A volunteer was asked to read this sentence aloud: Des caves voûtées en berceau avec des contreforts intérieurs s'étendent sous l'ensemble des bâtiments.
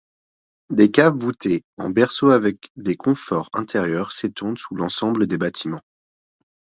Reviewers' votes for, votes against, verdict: 1, 2, rejected